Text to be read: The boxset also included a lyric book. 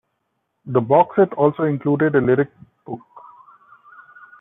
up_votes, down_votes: 2, 0